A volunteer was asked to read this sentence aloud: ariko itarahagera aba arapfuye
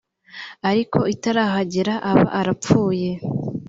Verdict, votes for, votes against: accepted, 2, 0